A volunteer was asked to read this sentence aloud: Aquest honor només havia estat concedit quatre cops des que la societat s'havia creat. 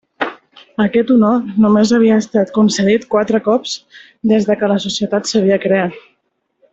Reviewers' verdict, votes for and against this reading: rejected, 1, 2